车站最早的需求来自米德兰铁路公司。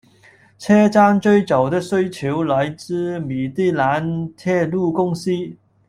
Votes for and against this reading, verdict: 1, 2, rejected